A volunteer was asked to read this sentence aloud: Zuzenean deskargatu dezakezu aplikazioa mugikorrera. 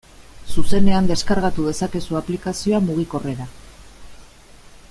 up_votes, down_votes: 2, 0